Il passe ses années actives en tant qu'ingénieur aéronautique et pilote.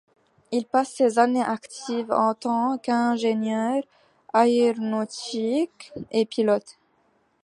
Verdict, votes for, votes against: rejected, 1, 2